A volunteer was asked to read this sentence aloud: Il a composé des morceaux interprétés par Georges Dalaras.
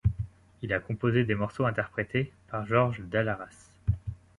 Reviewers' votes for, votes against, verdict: 2, 0, accepted